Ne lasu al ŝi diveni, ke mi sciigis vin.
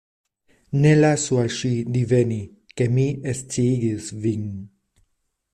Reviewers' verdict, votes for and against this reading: rejected, 0, 2